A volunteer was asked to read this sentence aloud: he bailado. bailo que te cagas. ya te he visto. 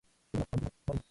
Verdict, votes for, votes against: rejected, 0, 2